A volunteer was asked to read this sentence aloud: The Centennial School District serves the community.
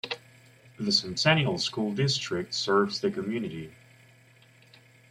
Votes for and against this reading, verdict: 0, 2, rejected